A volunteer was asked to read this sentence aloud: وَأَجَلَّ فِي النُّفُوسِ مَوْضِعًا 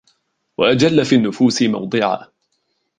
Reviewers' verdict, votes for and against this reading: accepted, 2, 0